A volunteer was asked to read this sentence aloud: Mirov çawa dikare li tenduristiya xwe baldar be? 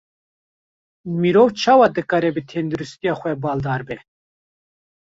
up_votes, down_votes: 1, 2